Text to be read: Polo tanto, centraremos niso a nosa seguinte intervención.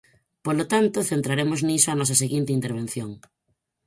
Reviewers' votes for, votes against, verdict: 4, 0, accepted